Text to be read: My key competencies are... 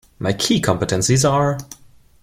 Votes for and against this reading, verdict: 2, 0, accepted